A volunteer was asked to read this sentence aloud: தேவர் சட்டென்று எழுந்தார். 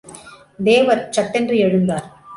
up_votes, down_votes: 2, 0